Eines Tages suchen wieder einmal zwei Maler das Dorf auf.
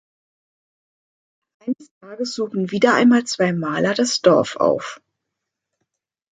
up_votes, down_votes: 1, 2